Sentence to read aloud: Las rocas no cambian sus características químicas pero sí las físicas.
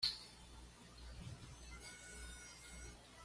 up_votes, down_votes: 1, 2